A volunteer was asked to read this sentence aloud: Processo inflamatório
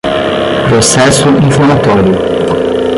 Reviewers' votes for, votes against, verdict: 5, 5, rejected